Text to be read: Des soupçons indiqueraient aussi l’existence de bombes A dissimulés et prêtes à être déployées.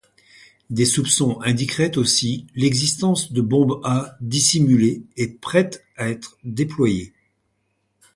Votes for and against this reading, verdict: 2, 0, accepted